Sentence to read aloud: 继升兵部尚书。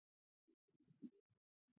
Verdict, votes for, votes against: rejected, 0, 2